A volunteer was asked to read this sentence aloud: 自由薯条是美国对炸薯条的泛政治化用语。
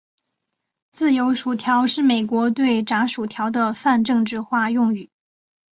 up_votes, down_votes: 2, 0